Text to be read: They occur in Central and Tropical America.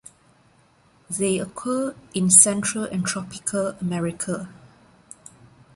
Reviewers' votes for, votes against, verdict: 1, 2, rejected